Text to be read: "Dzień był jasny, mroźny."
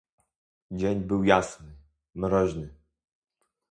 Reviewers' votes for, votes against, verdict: 2, 0, accepted